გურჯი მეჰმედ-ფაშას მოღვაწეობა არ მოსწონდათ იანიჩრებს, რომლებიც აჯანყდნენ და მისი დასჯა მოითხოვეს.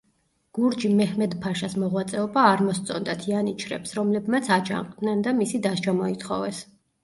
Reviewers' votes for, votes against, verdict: 0, 2, rejected